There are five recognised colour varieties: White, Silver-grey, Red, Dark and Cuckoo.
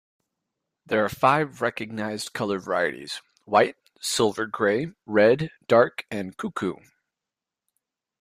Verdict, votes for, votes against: accepted, 2, 0